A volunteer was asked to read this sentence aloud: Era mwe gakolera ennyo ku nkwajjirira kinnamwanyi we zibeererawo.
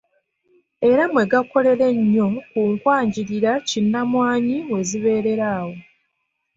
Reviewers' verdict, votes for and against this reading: accepted, 2, 0